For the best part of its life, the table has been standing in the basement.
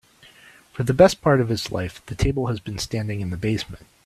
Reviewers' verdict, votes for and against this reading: accepted, 2, 0